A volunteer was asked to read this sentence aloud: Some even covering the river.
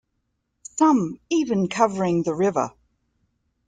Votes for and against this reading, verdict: 2, 0, accepted